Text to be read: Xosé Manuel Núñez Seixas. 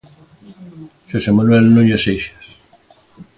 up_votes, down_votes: 2, 1